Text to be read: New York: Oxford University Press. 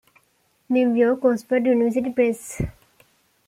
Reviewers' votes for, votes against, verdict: 2, 0, accepted